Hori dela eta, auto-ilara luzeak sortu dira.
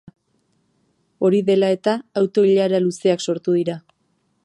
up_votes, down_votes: 2, 0